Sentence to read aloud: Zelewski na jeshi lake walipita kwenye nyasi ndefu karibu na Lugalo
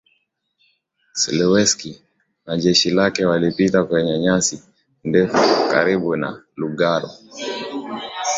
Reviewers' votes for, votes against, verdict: 7, 3, accepted